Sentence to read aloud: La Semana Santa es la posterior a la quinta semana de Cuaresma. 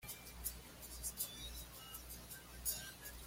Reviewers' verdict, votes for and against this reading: rejected, 1, 2